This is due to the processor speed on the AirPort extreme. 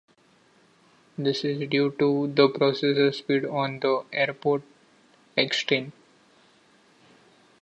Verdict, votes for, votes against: accepted, 2, 0